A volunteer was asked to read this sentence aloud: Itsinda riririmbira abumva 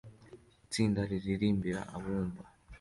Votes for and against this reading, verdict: 2, 0, accepted